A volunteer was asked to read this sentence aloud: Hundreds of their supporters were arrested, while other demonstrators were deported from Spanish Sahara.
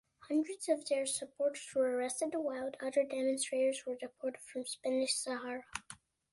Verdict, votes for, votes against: accepted, 2, 0